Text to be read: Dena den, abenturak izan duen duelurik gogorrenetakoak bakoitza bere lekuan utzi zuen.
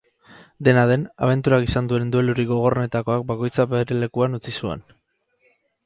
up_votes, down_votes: 4, 0